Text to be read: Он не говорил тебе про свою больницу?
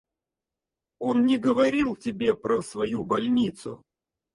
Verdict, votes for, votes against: rejected, 0, 4